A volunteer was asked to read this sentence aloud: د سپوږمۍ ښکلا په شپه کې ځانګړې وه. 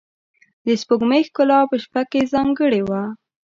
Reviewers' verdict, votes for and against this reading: accepted, 4, 0